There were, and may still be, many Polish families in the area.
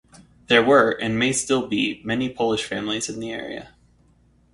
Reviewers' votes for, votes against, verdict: 4, 0, accepted